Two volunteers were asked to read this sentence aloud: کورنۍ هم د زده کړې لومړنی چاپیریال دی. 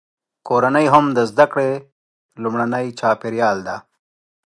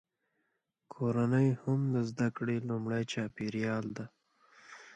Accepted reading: second